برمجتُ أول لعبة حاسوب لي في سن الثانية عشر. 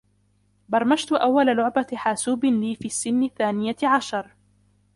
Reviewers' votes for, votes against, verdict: 2, 0, accepted